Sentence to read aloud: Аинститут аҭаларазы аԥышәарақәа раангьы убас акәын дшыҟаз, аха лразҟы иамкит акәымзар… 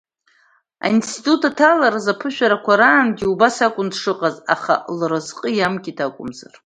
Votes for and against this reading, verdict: 2, 1, accepted